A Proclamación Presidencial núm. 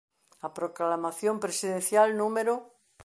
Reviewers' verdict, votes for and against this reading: accepted, 2, 0